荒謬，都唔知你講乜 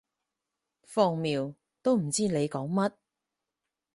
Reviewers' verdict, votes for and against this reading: rejected, 0, 4